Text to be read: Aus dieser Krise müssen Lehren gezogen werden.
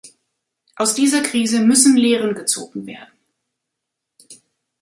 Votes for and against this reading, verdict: 3, 0, accepted